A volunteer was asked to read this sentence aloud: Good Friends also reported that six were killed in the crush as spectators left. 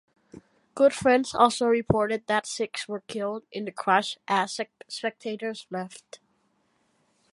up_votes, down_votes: 0, 2